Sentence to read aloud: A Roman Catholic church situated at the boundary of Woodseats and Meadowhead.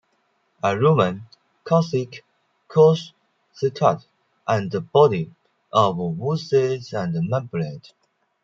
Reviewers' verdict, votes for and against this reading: rejected, 0, 2